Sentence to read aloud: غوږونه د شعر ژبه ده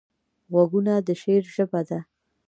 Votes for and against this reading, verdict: 1, 2, rejected